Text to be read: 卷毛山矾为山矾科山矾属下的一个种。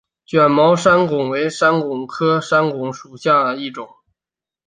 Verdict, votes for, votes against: accepted, 6, 0